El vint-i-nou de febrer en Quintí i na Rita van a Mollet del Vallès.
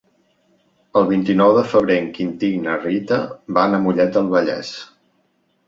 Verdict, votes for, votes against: accepted, 2, 0